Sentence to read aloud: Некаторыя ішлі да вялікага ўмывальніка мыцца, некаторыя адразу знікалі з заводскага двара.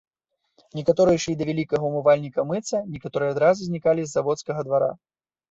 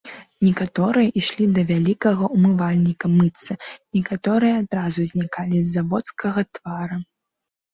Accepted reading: first